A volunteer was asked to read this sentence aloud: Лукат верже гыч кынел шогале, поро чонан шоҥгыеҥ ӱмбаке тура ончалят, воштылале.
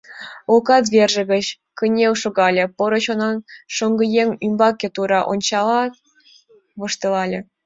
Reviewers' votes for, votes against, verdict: 2, 0, accepted